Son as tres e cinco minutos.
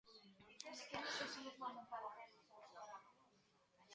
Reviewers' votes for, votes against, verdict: 0, 2, rejected